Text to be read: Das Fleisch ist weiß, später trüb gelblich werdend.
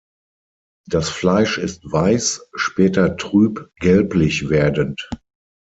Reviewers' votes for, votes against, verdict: 6, 0, accepted